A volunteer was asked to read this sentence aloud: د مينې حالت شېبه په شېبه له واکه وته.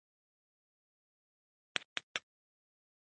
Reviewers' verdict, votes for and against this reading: rejected, 0, 2